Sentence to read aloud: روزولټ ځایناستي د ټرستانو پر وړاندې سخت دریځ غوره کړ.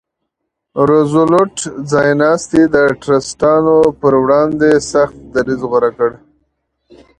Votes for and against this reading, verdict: 2, 0, accepted